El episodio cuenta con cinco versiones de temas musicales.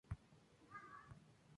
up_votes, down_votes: 0, 2